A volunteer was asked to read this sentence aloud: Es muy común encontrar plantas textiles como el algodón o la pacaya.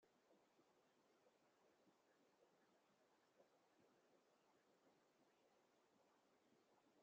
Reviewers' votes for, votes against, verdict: 0, 2, rejected